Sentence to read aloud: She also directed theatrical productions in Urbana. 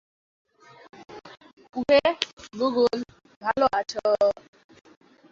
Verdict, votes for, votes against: rejected, 0, 2